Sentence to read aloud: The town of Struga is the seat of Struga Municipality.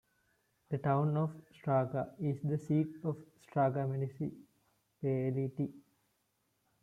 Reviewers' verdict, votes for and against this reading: rejected, 0, 2